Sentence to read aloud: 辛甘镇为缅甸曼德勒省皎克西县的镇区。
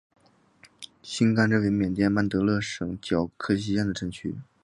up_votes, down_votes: 4, 2